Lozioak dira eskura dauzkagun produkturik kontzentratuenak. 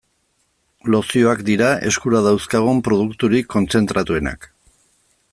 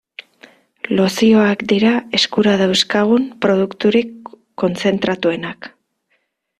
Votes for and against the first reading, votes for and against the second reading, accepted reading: 2, 0, 1, 2, first